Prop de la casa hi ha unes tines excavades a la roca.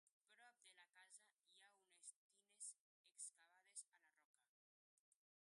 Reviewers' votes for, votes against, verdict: 0, 4, rejected